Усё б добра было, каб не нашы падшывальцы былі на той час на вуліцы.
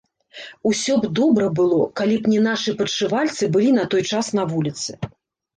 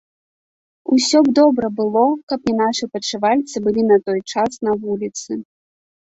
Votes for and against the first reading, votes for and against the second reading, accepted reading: 1, 2, 2, 0, second